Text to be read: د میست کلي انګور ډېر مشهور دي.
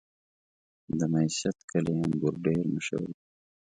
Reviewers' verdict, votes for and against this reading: rejected, 2, 4